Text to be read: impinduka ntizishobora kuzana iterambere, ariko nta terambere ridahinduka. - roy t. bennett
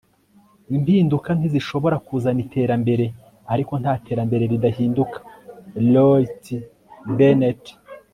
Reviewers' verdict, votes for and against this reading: accepted, 2, 0